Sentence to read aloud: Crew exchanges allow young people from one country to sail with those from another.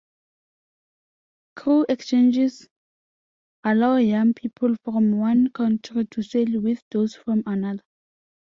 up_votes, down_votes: 2, 0